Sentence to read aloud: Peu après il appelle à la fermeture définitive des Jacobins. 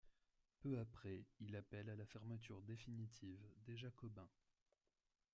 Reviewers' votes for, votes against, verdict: 1, 2, rejected